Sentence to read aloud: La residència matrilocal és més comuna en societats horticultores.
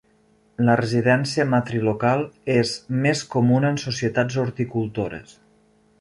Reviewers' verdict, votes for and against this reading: accepted, 2, 0